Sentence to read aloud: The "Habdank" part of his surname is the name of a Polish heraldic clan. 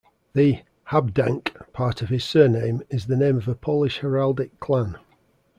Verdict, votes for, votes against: accepted, 2, 0